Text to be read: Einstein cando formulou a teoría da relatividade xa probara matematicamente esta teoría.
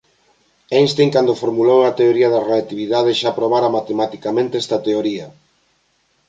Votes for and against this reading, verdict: 2, 1, accepted